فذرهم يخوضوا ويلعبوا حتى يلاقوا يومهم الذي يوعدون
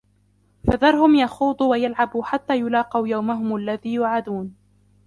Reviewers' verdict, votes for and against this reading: rejected, 0, 2